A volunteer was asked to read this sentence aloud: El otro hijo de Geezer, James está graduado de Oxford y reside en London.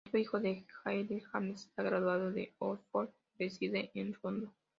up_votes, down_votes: 0, 2